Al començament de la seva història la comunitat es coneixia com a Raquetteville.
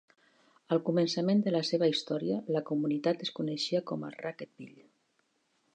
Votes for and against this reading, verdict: 2, 0, accepted